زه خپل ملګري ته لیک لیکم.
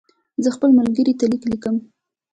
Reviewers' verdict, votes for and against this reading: rejected, 0, 2